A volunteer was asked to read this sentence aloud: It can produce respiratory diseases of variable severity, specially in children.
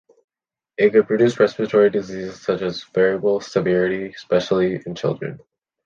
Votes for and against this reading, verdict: 0, 2, rejected